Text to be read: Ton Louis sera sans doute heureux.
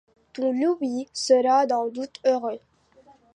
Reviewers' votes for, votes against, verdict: 0, 2, rejected